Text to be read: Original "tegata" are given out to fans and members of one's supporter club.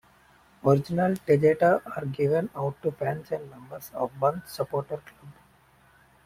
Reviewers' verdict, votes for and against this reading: rejected, 1, 2